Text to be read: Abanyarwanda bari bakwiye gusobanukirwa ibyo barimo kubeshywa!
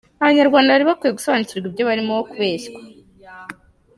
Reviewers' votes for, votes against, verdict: 2, 1, accepted